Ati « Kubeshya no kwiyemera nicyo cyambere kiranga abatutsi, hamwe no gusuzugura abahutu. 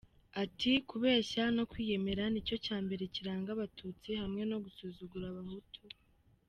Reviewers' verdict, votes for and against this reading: accepted, 2, 0